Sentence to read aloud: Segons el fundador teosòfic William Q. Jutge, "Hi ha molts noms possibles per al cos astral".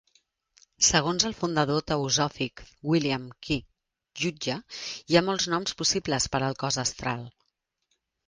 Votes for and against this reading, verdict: 3, 1, accepted